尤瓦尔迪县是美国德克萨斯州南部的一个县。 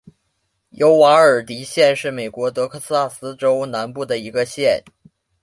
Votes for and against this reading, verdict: 2, 0, accepted